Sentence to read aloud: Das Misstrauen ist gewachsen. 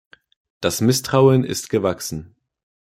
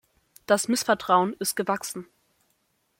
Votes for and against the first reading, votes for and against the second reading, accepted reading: 2, 0, 0, 2, first